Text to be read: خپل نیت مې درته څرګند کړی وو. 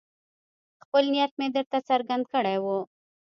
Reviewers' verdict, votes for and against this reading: rejected, 1, 2